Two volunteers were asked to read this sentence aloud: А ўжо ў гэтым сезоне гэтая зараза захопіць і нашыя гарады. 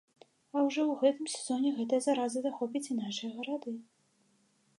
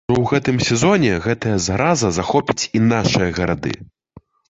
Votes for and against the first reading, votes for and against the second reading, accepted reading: 2, 0, 0, 2, first